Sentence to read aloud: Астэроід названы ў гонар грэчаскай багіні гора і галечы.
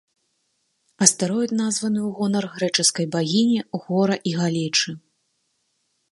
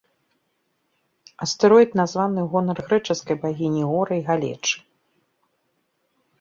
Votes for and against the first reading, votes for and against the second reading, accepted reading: 1, 2, 2, 0, second